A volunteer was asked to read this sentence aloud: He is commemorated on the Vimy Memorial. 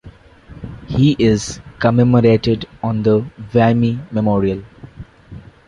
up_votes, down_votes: 1, 2